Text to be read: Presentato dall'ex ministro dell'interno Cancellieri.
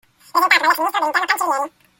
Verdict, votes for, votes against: rejected, 0, 2